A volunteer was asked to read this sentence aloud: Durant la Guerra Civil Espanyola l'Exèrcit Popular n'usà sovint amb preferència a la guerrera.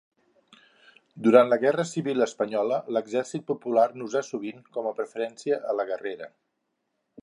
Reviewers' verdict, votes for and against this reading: rejected, 0, 2